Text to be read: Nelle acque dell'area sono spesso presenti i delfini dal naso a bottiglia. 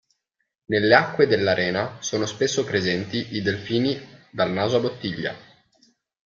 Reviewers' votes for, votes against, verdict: 1, 2, rejected